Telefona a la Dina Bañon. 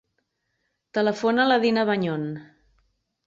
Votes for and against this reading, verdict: 2, 0, accepted